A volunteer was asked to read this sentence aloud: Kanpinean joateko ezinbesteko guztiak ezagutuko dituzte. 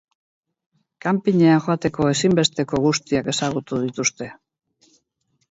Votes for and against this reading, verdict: 0, 4, rejected